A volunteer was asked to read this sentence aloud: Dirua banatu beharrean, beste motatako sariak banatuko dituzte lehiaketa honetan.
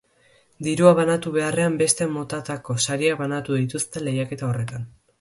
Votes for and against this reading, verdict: 2, 2, rejected